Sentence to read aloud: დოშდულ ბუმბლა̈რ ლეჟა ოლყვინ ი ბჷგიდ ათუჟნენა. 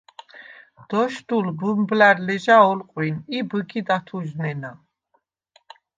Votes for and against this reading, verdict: 2, 0, accepted